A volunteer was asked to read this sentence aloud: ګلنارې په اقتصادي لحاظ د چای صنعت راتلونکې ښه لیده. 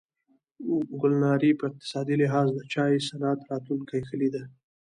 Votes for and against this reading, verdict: 1, 2, rejected